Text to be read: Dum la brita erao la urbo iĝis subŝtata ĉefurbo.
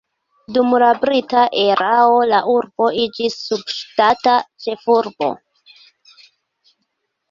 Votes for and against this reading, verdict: 2, 0, accepted